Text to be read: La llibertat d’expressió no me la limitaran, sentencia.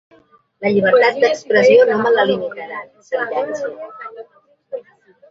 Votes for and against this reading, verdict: 1, 2, rejected